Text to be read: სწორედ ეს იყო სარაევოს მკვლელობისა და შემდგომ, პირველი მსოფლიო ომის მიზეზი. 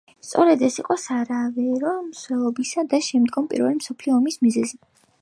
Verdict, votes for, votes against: rejected, 0, 2